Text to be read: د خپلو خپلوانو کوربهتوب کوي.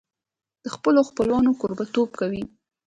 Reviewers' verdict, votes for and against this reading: accepted, 2, 0